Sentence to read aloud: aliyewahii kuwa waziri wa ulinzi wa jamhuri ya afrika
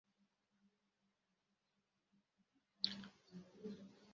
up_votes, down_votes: 0, 2